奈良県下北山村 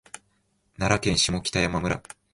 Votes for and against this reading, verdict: 2, 0, accepted